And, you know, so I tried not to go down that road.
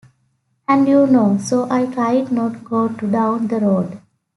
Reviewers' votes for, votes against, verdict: 0, 2, rejected